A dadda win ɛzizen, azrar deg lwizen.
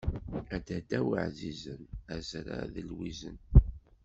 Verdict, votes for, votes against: rejected, 1, 2